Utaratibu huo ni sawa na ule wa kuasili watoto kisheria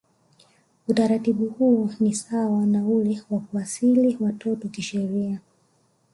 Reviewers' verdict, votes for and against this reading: accepted, 2, 1